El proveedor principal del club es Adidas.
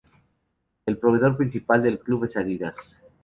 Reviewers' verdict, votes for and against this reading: accepted, 2, 0